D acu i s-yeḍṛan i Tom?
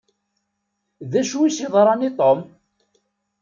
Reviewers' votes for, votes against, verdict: 2, 0, accepted